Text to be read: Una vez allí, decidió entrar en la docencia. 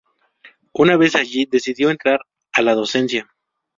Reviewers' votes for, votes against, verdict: 0, 2, rejected